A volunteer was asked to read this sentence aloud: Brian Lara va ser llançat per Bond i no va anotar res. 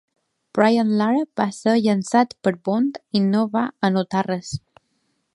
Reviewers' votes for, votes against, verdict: 2, 0, accepted